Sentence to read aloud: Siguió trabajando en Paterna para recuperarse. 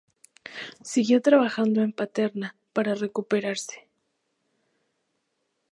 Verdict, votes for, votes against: accepted, 6, 0